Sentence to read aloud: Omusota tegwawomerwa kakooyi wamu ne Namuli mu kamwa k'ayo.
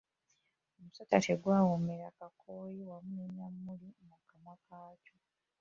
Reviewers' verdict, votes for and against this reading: rejected, 0, 3